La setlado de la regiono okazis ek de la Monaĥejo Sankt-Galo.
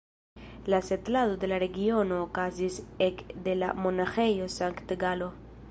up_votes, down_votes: 2, 0